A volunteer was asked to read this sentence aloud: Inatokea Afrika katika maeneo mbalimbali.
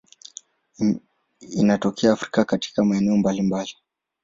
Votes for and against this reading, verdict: 1, 2, rejected